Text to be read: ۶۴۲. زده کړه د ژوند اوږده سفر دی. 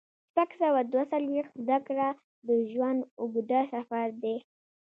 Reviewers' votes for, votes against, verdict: 0, 2, rejected